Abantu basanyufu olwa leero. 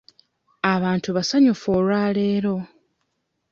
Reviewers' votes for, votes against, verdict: 2, 0, accepted